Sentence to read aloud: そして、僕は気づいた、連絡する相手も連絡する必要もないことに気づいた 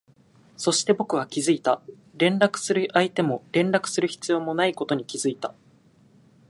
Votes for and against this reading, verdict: 2, 0, accepted